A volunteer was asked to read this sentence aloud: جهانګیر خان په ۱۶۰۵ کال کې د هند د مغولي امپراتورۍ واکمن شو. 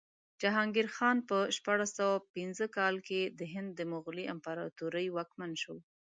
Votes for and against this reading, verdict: 0, 2, rejected